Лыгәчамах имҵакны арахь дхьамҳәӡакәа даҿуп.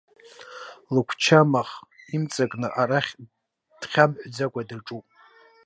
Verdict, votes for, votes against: rejected, 1, 2